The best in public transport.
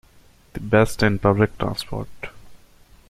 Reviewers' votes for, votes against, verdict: 0, 2, rejected